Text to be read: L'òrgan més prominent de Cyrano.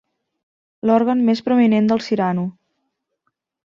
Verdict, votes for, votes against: rejected, 1, 2